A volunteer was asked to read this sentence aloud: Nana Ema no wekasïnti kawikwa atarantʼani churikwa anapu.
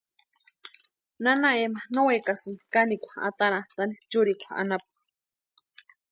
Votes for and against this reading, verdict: 0, 2, rejected